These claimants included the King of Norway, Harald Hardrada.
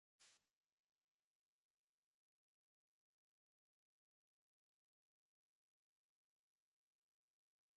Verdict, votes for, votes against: rejected, 0, 2